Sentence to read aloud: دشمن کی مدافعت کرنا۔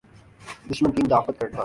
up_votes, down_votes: 11, 2